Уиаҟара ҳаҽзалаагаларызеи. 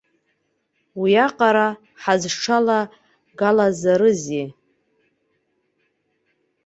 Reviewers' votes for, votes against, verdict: 1, 2, rejected